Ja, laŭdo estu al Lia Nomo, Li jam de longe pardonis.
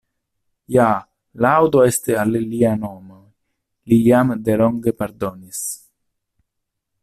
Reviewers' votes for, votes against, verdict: 0, 2, rejected